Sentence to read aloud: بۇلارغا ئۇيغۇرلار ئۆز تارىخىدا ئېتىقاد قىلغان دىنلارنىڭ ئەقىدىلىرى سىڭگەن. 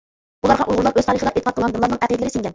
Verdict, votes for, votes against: rejected, 0, 2